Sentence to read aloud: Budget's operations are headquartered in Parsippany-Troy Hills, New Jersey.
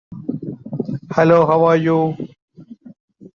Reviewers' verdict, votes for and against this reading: rejected, 0, 2